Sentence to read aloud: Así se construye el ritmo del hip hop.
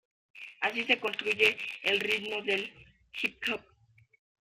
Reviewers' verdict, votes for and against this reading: accepted, 2, 1